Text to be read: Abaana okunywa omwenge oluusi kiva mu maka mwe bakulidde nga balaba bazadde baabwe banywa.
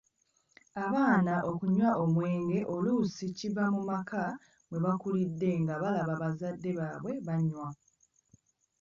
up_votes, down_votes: 2, 0